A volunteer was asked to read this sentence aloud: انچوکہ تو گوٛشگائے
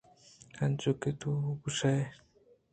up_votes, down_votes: 2, 0